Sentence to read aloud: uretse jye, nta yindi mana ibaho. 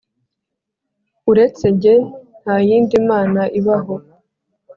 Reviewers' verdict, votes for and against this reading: accepted, 2, 0